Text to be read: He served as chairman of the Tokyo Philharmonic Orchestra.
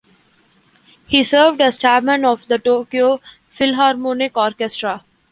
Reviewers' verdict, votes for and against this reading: accepted, 2, 0